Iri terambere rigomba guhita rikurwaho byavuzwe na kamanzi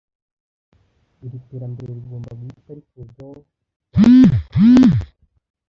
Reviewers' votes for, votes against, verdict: 0, 2, rejected